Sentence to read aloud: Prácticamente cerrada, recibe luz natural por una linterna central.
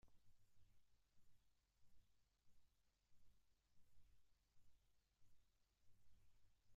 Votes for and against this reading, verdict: 1, 2, rejected